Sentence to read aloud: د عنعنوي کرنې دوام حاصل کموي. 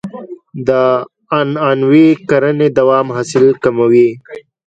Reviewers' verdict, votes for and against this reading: accepted, 2, 0